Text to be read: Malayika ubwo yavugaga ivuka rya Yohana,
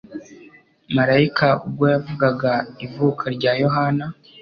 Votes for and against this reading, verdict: 2, 0, accepted